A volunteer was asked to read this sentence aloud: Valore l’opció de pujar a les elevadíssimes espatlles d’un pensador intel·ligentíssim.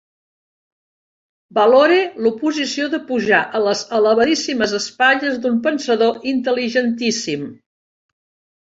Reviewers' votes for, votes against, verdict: 0, 2, rejected